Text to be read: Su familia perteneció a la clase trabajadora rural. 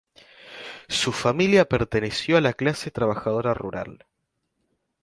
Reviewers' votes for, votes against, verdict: 4, 0, accepted